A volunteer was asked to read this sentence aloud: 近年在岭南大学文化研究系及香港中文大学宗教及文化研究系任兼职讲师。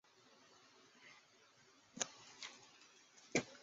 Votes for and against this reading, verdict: 0, 3, rejected